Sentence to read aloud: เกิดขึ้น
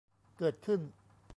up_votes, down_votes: 0, 2